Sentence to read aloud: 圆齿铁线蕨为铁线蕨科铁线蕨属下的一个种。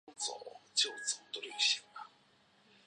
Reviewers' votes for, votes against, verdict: 0, 3, rejected